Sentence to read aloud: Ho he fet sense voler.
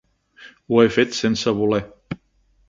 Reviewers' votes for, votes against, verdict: 3, 0, accepted